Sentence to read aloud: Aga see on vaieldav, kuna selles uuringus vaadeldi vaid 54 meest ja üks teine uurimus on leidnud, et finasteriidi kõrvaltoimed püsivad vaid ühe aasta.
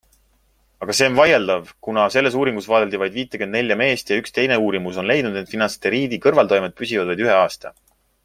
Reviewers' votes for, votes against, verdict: 0, 2, rejected